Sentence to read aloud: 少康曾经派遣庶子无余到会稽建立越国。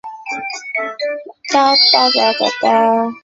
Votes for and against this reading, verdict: 0, 4, rejected